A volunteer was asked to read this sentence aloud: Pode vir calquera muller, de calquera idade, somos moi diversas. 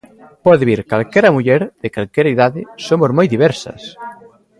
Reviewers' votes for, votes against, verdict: 3, 0, accepted